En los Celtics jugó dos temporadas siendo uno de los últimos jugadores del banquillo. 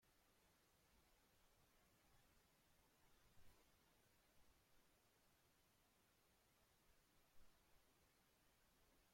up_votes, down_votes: 0, 2